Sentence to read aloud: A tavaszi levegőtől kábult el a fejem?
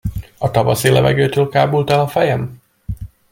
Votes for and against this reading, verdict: 2, 0, accepted